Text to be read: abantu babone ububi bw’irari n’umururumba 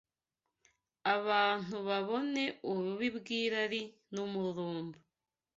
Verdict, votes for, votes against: accepted, 2, 0